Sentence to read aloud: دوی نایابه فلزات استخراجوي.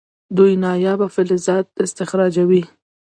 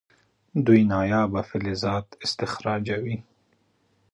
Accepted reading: second